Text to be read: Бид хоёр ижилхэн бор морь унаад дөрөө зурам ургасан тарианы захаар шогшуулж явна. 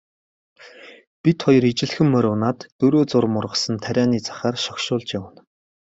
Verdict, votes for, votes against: accepted, 3, 1